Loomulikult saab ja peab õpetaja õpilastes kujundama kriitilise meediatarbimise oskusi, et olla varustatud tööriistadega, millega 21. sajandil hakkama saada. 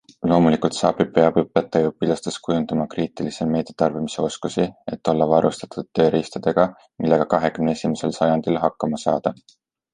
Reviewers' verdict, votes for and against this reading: rejected, 0, 2